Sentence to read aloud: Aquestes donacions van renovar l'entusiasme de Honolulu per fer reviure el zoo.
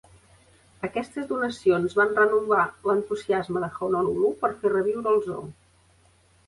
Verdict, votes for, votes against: rejected, 0, 2